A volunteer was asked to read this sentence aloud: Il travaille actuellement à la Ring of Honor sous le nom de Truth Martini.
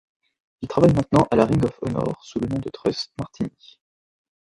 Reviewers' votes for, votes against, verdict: 1, 2, rejected